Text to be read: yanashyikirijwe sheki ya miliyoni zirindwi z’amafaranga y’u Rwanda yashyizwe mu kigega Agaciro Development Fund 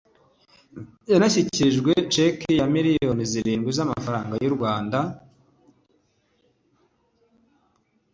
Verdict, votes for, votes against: rejected, 0, 2